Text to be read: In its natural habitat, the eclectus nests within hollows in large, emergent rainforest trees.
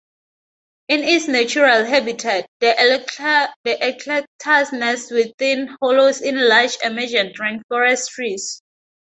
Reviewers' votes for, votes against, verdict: 2, 2, rejected